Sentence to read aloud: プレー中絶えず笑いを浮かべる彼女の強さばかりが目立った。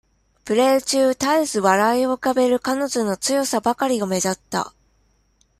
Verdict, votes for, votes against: accepted, 2, 0